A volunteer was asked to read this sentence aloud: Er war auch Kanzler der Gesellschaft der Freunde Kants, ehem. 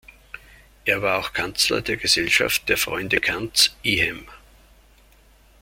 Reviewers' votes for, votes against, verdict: 1, 2, rejected